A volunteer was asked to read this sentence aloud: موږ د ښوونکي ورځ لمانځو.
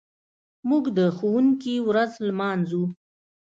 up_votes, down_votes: 2, 0